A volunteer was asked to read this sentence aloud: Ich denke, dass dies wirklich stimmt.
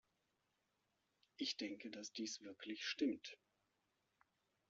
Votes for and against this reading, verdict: 1, 2, rejected